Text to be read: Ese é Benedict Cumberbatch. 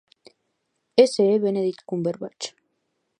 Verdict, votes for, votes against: rejected, 1, 2